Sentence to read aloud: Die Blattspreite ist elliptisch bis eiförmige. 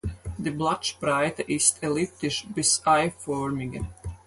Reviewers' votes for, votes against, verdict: 4, 2, accepted